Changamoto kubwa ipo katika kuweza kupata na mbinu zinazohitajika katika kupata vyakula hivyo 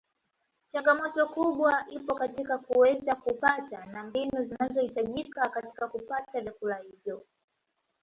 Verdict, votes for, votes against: accepted, 2, 0